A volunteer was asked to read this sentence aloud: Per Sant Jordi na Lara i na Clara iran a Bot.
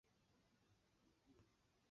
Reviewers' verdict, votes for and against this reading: rejected, 1, 2